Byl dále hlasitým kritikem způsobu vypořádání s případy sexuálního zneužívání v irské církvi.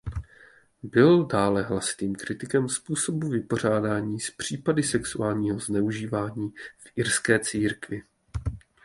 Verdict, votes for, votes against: accepted, 2, 0